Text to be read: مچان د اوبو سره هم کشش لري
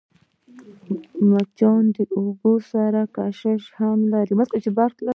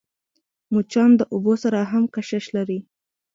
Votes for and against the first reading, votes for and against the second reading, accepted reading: 2, 1, 0, 2, first